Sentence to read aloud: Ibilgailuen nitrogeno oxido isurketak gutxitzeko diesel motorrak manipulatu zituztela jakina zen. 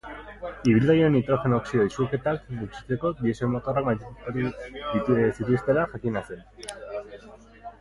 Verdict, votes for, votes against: rejected, 0, 2